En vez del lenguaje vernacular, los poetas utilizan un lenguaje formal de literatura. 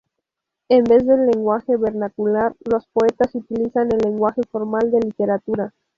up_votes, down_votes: 0, 2